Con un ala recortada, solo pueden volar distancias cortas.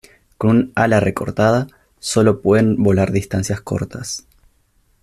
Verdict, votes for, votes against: rejected, 0, 2